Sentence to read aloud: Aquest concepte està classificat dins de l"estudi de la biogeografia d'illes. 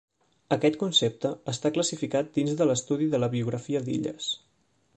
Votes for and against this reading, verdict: 0, 2, rejected